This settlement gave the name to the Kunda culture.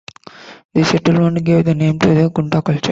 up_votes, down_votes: 2, 0